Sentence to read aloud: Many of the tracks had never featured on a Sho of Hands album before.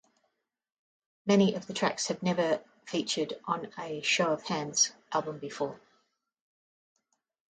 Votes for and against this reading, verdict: 1, 2, rejected